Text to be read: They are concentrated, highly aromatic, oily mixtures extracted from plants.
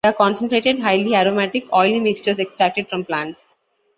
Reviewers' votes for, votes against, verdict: 0, 2, rejected